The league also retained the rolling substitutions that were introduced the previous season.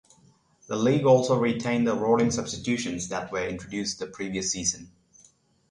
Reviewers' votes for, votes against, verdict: 6, 3, accepted